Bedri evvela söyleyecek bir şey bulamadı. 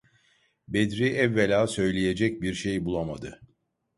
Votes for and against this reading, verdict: 2, 0, accepted